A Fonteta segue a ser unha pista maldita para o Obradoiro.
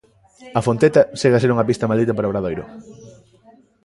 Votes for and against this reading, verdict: 2, 1, accepted